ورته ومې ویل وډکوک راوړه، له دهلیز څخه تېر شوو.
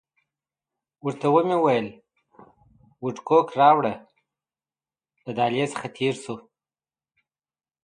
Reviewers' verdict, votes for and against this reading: accepted, 2, 1